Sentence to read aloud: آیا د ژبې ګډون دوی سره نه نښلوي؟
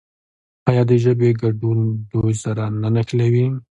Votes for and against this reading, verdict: 2, 0, accepted